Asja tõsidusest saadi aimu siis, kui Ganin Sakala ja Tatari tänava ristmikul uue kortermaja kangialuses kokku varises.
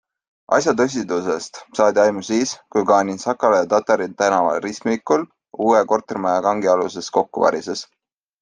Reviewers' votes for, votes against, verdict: 2, 0, accepted